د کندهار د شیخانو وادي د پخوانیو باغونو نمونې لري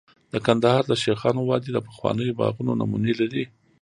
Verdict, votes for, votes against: rejected, 1, 2